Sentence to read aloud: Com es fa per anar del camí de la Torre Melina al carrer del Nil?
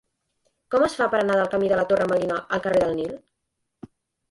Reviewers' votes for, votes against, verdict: 2, 0, accepted